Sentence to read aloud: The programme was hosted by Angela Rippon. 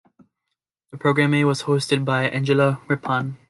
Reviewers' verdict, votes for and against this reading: rejected, 0, 2